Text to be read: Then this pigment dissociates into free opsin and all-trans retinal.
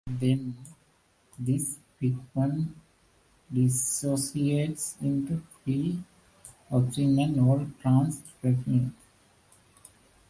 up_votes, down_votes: 0, 2